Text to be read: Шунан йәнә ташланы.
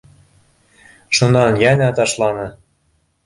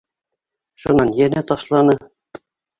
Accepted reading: first